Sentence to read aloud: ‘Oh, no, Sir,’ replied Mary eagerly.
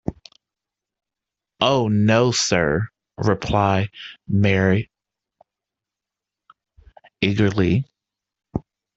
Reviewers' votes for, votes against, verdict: 1, 2, rejected